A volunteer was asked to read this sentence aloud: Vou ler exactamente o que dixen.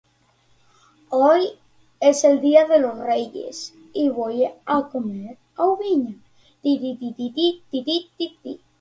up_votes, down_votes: 0, 2